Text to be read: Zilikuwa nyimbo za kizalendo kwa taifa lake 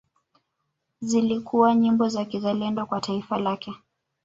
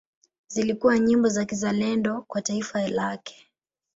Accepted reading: first